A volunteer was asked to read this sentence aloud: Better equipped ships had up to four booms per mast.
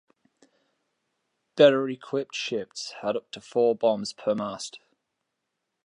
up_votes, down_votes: 2, 1